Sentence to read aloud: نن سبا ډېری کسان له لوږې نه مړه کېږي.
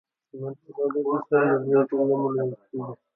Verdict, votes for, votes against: rejected, 0, 2